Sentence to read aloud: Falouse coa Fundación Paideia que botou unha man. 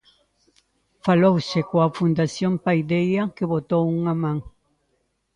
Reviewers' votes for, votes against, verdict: 2, 0, accepted